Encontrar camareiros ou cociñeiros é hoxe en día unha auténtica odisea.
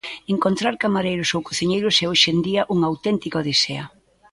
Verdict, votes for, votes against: accepted, 2, 0